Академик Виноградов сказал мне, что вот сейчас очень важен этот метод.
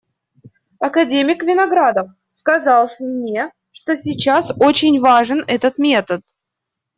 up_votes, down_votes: 0, 2